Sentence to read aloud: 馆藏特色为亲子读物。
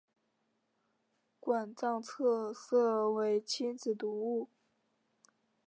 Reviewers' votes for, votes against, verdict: 3, 0, accepted